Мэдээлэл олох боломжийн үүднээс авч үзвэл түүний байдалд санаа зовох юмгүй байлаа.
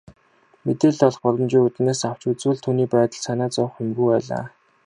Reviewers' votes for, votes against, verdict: 2, 1, accepted